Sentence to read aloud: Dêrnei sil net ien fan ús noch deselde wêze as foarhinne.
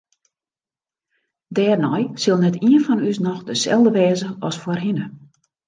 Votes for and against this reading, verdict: 2, 0, accepted